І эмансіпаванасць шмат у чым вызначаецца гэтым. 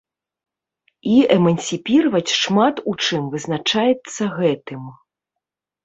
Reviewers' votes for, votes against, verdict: 1, 2, rejected